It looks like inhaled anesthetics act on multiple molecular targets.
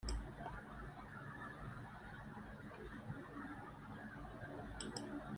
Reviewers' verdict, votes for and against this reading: rejected, 1, 3